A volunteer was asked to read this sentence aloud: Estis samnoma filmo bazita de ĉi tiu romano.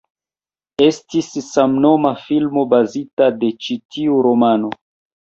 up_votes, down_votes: 2, 1